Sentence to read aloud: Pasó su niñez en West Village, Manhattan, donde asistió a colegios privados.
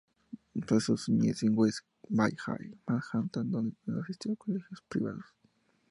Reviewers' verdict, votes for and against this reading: accepted, 2, 0